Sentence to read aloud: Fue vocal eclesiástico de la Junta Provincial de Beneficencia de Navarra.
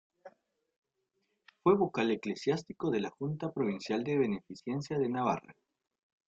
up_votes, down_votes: 2, 0